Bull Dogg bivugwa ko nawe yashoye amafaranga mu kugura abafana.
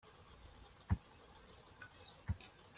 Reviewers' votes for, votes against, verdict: 0, 2, rejected